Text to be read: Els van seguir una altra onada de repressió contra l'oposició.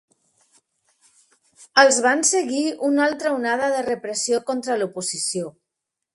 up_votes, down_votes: 3, 0